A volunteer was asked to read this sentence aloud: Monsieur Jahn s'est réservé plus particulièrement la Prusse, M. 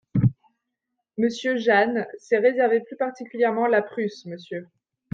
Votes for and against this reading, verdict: 2, 1, accepted